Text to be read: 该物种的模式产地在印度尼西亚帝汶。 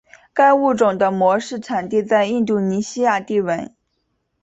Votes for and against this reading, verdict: 6, 0, accepted